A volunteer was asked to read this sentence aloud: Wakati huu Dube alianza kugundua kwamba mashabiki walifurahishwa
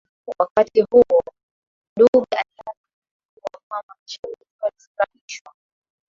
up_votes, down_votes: 9, 5